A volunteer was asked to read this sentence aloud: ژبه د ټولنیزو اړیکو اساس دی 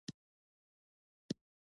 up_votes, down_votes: 0, 2